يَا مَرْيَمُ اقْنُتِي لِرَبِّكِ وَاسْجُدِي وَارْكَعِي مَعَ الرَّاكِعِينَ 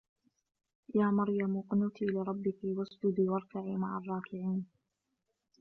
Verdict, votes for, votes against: accepted, 2, 0